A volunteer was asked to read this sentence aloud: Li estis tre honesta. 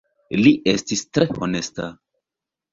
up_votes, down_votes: 2, 1